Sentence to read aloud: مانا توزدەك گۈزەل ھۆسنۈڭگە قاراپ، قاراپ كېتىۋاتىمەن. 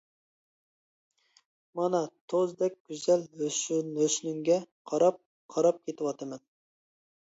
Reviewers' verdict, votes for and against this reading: rejected, 0, 2